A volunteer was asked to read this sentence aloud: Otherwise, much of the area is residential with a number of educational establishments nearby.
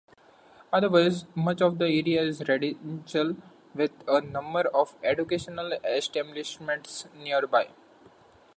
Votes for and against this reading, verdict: 0, 2, rejected